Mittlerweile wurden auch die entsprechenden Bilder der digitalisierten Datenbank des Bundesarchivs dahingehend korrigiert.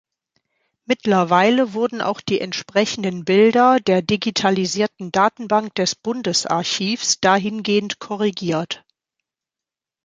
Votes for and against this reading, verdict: 2, 0, accepted